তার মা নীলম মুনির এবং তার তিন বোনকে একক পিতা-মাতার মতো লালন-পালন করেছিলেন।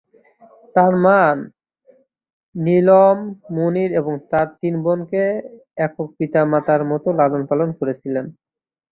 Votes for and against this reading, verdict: 2, 0, accepted